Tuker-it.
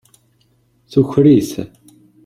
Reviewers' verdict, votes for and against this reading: rejected, 1, 2